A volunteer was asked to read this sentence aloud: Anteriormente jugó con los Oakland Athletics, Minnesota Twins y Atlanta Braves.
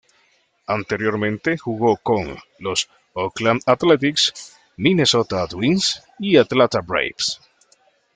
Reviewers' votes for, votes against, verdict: 2, 0, accepted